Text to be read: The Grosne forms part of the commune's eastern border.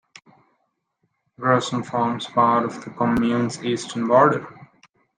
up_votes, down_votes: 1, 2